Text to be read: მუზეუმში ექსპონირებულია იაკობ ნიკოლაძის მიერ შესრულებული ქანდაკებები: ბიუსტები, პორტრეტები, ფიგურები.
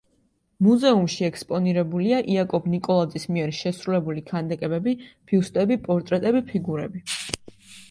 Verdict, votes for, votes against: accepted, 2, 0